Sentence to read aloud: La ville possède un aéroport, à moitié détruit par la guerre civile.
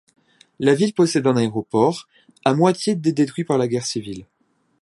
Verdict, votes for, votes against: rejected, 1, 2